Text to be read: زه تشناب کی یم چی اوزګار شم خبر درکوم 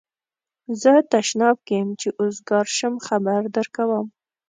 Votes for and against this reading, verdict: 2, 0, accepted